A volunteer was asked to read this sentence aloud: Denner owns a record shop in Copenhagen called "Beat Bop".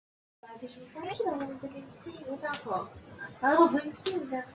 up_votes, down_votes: 0, 2